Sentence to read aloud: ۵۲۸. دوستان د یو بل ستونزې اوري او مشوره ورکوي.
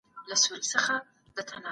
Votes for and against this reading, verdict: 0, 2, rejected